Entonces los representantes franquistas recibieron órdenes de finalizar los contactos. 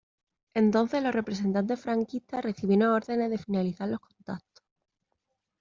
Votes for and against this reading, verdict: 2, 0, accepted